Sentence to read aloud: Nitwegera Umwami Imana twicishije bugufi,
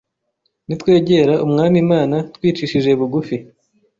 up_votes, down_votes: 2, 0